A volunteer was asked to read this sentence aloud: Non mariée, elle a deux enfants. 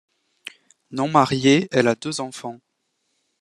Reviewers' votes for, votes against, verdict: 2, 0, accepted